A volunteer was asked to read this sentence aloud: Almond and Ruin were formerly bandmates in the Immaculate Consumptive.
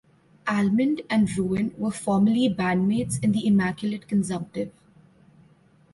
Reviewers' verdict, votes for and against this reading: accepted, 2, 0